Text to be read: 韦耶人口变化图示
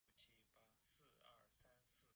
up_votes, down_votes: 0, 2